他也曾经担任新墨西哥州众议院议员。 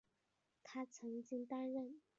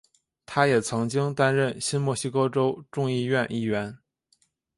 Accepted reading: second